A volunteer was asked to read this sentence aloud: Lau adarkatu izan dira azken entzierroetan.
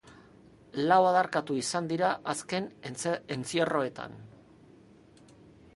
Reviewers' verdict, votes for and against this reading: rejected, 0, 2